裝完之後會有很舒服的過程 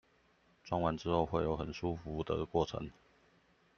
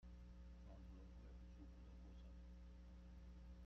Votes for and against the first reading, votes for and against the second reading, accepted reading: 2, 0, 0, 2, first